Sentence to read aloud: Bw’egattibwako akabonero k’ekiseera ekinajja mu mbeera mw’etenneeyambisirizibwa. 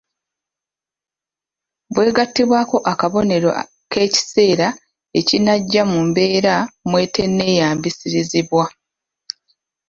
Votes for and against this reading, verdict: 0, 2, rejected